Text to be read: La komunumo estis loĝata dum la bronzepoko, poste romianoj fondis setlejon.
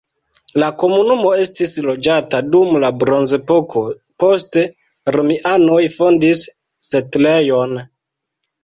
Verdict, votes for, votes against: rejected, 0, 2